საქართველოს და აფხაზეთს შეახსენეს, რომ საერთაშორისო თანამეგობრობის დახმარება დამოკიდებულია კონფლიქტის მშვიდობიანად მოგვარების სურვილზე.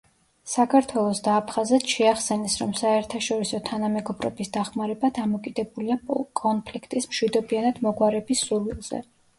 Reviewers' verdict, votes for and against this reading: rejected, 1, 2